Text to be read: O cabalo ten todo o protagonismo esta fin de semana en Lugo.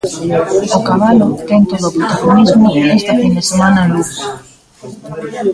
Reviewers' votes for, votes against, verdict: 0, 2, rejected